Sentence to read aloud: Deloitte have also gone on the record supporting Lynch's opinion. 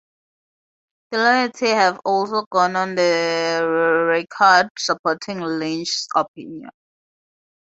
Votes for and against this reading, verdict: 4, 0, accepted